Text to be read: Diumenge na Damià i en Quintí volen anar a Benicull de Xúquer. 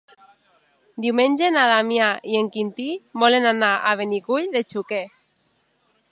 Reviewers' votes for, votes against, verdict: 2, 1, accepted